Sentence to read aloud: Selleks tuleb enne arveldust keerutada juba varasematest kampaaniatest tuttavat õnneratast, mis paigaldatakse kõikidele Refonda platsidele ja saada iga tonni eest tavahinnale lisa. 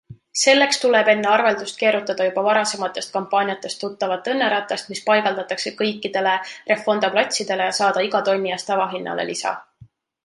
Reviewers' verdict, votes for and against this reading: accepted, 2, 0